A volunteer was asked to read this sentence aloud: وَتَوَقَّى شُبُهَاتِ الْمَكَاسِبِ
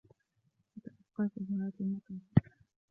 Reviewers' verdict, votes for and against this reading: rejected, 0, 3